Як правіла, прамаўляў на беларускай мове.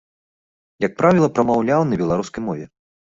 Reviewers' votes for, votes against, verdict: 2, 0, accepted